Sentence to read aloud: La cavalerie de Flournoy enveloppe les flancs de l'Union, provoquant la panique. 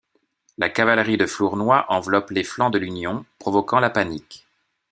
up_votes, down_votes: 2, 0